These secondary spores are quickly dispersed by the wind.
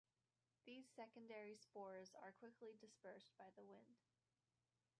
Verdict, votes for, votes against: rejected, 0, 2